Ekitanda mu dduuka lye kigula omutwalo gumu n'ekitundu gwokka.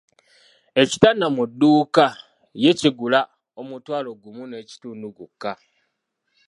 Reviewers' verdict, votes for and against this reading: rejected, 1, 3